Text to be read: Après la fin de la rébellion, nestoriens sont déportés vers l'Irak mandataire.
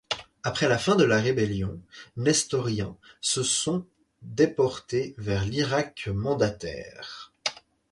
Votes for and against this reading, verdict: 0, 4, rejected